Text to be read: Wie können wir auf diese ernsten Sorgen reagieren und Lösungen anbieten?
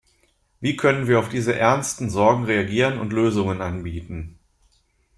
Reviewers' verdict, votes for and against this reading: accepted, 2, 0